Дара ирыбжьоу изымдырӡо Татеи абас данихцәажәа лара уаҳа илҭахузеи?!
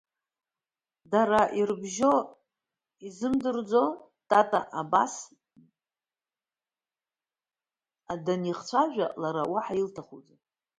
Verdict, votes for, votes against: rejected, 0, 2